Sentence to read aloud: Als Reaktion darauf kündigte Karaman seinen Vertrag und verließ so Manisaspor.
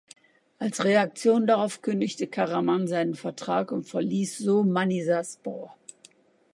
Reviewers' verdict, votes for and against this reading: accepted, 2, 0